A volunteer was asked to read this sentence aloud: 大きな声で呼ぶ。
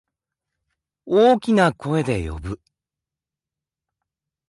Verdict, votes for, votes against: accepted, 2, 0